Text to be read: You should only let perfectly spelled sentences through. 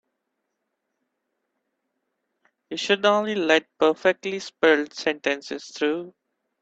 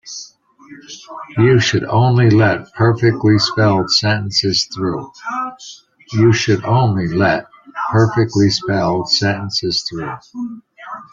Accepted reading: first